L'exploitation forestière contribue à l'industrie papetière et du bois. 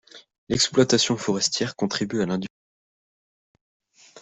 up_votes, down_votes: 0, 2